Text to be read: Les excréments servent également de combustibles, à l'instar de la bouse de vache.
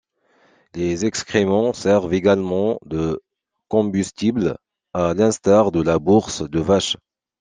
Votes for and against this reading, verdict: 0, 2, rejected